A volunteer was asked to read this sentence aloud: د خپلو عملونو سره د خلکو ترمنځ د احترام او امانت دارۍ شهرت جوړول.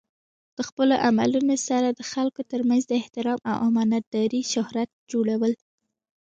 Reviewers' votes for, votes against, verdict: 2, 0, accepted